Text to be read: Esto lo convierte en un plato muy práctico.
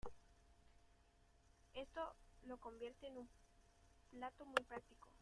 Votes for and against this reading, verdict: 1, 2, rejected